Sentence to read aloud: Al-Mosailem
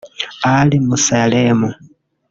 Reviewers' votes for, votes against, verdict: 0, 2, rejected